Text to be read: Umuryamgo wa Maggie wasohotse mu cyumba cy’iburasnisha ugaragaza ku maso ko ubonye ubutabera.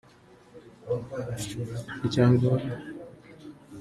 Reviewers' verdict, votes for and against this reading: rejected, 0, 2